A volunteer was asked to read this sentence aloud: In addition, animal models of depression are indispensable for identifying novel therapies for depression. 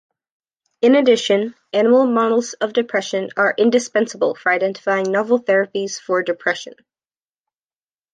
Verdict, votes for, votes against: accepted, 2, 0